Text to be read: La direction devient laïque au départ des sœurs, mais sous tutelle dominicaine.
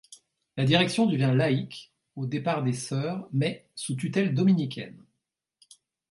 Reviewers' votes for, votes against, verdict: 2, 0, accepted